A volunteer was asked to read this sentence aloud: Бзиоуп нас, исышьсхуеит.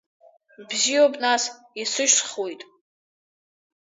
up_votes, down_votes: 3, 0